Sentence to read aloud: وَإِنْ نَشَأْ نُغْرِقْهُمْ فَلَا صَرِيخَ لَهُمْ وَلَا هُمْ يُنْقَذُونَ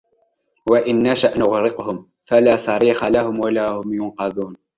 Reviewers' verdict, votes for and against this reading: rejected, 0, 2